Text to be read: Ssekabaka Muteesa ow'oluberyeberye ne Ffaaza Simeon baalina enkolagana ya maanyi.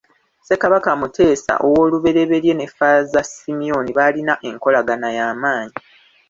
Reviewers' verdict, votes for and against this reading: accepted, 2, 1